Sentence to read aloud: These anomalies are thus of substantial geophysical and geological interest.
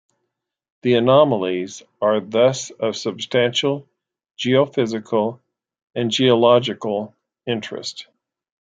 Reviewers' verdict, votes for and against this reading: rejected, 0, 2